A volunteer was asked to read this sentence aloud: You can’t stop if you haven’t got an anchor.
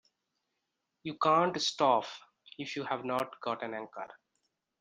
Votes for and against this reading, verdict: 1, 2, rejected